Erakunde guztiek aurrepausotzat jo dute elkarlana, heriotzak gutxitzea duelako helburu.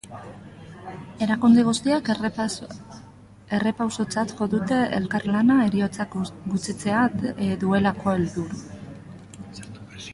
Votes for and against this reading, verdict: 0, 3, rejected